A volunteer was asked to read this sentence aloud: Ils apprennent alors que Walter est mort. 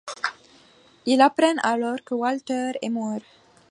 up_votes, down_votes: 0, 2